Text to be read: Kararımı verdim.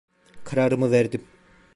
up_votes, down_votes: 2, 0